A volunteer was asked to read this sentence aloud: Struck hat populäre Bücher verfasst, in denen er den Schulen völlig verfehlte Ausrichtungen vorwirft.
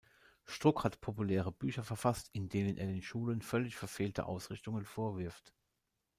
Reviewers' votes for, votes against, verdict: 1, 2, rejected